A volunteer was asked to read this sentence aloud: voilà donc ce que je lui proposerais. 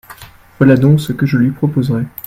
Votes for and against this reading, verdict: 2, 0, accepted